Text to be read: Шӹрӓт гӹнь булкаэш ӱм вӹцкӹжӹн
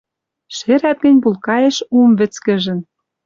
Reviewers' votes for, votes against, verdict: 0, 2, rejected